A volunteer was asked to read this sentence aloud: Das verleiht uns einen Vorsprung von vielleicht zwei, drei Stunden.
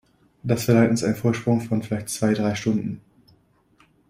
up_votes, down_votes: 2, 0